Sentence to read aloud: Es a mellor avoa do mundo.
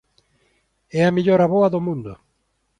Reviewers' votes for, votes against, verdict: 1, 2, rejected